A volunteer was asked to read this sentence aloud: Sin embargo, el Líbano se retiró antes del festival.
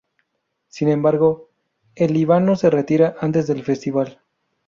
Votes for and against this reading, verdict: 0, 2, rejected